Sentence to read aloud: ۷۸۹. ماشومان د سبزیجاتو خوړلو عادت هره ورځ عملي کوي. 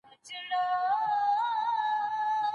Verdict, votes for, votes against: rejected, 0, 2